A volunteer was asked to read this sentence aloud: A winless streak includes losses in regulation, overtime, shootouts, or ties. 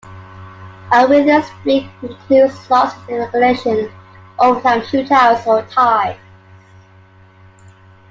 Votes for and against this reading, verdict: 1, 2, rejected